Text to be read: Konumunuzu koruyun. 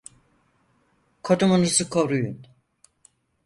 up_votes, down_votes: 2, 4